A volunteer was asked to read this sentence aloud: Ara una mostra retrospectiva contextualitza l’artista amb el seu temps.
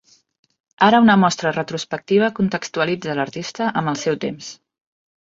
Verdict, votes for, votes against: accepted, 6, 0